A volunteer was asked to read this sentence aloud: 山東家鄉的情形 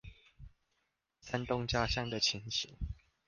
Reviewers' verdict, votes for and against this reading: accepted, 2, 0